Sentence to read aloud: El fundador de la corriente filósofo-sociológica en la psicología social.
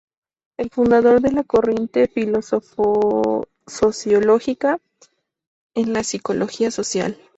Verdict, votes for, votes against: rejected, 0, 2